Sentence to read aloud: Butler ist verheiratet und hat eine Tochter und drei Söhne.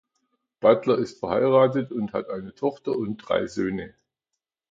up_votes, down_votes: 2, 0